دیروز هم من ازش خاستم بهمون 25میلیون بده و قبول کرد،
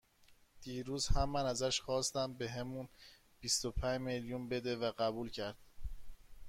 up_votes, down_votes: 0, 2